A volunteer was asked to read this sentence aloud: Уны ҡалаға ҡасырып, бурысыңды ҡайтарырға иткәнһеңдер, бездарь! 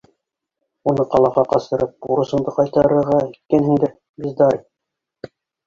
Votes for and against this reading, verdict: 1, 2, rejected